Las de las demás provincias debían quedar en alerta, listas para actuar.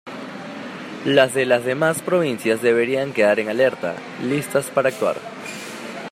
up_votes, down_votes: 3, 0